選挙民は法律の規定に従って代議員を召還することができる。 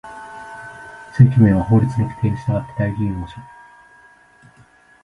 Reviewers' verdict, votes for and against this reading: rejected, 1, 2